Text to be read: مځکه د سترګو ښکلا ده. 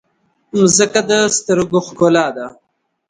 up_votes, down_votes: 2, 0